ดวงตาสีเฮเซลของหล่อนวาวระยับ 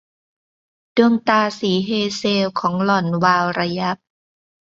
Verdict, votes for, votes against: accepted, 2, 0